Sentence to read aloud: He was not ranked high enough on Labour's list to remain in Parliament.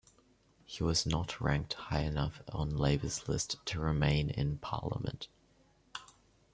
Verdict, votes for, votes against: accepted, 2, 1